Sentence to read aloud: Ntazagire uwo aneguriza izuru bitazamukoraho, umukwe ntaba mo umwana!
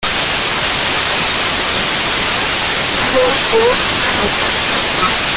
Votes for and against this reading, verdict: 0, 2, rejected